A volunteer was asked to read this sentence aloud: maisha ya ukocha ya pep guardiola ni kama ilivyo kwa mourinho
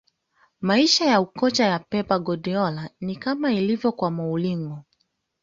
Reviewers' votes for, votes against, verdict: 1, 2, rejected